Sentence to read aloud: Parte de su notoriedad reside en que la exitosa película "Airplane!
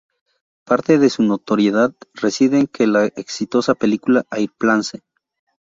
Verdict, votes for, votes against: rejected, 0, 2